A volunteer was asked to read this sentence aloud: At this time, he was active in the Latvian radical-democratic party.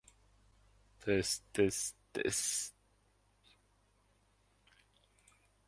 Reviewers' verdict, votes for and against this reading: rejected, 0, 2